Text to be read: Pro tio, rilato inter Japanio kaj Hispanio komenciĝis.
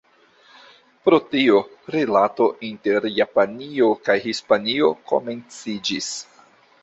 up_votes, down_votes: 2, 1